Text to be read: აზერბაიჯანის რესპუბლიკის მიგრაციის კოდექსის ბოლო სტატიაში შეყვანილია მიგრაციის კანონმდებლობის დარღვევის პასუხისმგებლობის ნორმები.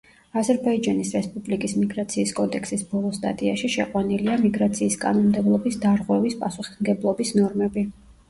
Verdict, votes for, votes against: accepted, 2, 0